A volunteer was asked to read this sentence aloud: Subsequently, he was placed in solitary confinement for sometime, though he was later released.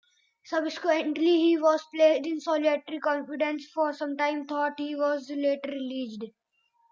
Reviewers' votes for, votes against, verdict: 0, 2, rejected